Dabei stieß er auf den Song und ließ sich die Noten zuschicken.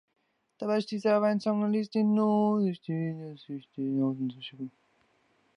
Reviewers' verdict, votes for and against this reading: rejected, 0, 3